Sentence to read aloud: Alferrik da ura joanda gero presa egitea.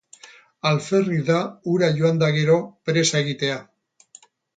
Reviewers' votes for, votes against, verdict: 12, 0, accepted